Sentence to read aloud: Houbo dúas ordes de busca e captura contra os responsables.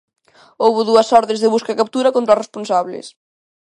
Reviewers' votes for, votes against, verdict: 2, 0, accepted